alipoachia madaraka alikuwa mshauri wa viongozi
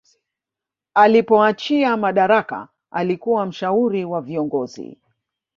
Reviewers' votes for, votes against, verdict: 2, 0, accepted